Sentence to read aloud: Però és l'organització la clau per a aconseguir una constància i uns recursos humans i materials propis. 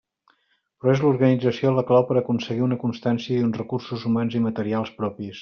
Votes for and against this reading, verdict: 2, 0, accepted